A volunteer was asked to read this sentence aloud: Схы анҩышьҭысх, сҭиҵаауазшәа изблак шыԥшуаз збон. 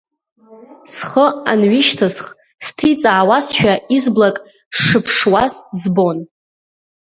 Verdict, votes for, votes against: rejected, 1, 2